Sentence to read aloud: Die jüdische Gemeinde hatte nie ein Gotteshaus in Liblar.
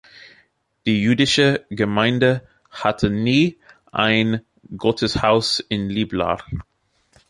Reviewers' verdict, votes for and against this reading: accepted, 2, 0